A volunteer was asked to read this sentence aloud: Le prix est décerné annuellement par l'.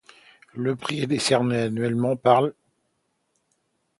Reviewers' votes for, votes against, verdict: 2, 0, accepted